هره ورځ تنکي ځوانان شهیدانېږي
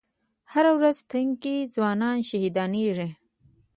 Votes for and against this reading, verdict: 2, 1, accepted